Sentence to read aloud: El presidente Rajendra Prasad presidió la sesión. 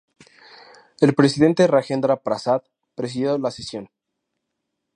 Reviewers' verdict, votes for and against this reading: accepted, 4, 0